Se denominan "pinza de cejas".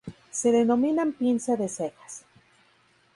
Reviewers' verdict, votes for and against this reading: accepted, 4, 0